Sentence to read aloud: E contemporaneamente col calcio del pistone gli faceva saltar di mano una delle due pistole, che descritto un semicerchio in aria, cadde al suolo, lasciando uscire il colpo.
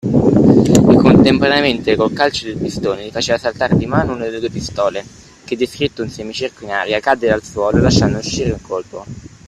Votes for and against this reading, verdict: 3, 1, accepted